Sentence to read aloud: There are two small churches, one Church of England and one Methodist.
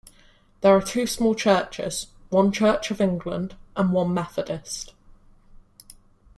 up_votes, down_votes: 2, 1